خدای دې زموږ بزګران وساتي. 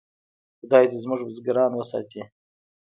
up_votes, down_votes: 1, 2